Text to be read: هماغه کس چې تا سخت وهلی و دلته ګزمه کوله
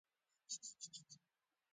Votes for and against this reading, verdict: 0, 2, rejected